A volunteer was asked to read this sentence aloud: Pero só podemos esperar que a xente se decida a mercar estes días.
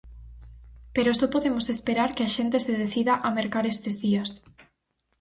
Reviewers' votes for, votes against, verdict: 4, 0, accepted